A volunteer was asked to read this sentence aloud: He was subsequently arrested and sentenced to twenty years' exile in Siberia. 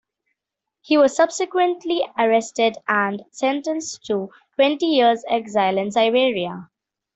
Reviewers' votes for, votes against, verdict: 2, 0, accepted